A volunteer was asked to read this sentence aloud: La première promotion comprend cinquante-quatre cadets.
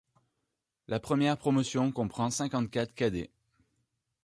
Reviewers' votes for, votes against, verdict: 2, 0, accepted